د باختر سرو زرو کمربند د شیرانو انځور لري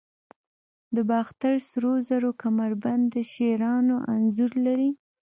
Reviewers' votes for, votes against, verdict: 1, 2, rejected